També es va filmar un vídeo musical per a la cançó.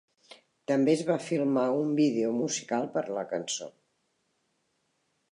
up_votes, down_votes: 0, 2